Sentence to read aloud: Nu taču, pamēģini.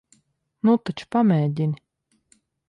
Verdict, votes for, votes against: accepted, 3, 0